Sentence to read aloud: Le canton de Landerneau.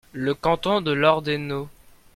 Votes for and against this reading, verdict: 0, 2, rejected